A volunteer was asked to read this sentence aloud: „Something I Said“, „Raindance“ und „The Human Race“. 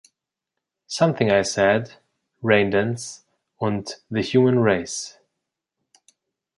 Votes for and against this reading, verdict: 2, 0, accepted